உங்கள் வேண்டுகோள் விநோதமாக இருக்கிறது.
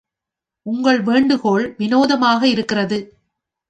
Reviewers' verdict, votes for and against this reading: accepted, 3, 0